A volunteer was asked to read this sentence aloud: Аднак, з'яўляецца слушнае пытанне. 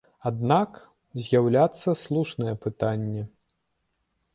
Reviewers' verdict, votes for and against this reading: rejected, 1, 2